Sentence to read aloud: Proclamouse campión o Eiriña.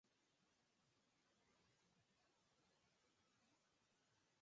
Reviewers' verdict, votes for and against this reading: rejected, 0, 4